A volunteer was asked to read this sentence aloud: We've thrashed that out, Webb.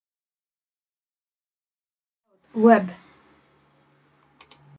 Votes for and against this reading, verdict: 0, 2, rejected